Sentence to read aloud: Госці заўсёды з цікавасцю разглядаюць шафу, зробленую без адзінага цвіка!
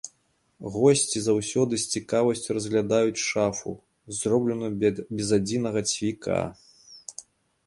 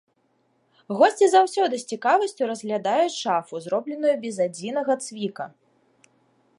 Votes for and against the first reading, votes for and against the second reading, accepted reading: 1, 2, 2, 1, second